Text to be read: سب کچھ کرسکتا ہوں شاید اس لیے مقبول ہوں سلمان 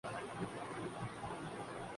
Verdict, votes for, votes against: rejected, 0, 2